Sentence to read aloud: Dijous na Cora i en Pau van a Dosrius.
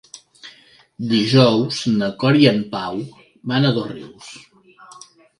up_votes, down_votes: 2, 0